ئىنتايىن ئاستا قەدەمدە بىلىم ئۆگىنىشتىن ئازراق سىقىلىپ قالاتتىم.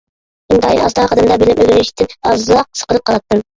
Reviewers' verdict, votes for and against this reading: rejected, 0, 2